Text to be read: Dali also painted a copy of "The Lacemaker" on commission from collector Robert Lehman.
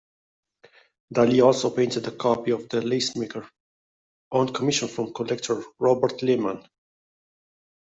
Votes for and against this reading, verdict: 2, 0, accepted